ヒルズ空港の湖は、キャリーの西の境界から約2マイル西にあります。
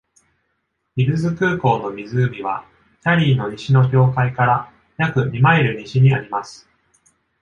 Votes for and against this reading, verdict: 0, 2, rejected